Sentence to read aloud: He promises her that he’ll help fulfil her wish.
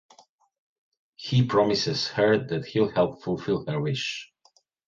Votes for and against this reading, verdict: 2, 0, accepted